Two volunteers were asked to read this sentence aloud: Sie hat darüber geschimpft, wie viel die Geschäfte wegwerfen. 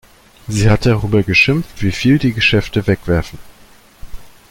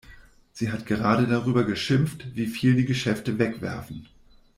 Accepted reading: first